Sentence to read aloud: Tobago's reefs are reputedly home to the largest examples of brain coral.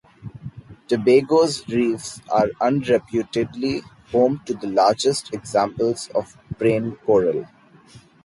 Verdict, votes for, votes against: rejected, 1, 3